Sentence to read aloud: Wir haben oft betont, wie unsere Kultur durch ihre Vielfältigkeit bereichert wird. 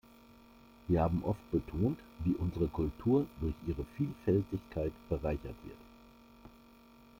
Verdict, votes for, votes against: rejected, 1, 2